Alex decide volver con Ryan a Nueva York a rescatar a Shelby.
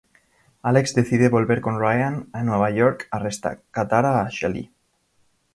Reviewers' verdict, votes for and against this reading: rejected, 1, 2